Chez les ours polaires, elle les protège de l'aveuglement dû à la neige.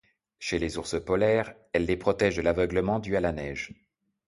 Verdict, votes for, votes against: accepted, 2, 0